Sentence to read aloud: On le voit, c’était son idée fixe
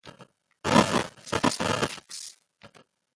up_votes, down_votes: 0, 2